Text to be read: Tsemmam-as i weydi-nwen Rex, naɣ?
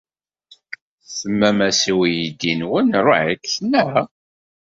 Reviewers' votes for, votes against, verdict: 0, 2, rejected